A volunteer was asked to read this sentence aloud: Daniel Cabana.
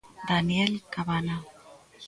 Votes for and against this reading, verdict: 1, 2, rejected